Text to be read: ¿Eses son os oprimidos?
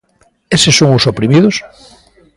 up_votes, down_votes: 3, 0